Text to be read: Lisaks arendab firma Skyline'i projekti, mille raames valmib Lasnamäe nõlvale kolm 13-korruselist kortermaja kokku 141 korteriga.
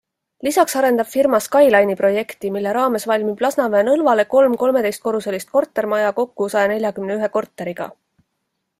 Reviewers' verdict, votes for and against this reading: rejected, 0, 2